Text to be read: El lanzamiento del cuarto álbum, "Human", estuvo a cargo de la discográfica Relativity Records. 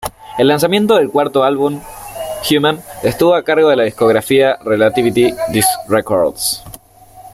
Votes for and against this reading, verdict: 1, 2, rejected